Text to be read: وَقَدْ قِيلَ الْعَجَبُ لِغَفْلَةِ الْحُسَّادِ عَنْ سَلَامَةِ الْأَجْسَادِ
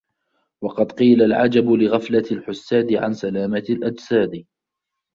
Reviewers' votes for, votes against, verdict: 2, 0, accepted